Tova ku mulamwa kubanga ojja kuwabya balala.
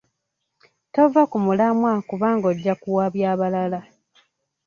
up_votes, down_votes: 2, 1